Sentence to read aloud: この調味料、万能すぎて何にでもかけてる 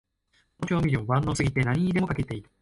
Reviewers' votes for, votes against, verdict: 1, 2, rejected